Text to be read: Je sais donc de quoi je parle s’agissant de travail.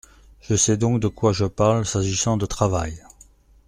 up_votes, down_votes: 2, 0